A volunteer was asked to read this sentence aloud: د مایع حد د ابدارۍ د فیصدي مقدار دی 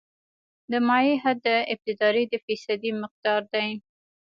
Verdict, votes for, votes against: accepted, 2, 0